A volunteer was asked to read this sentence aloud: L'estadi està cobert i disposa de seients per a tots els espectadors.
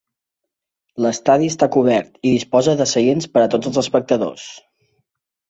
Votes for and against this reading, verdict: 3, 0, accepted